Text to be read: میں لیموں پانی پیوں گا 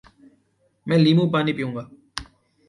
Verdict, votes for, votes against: accepted, 2, 0